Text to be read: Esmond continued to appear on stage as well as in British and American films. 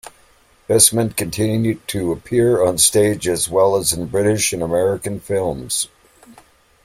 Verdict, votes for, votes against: accepted, 2, 0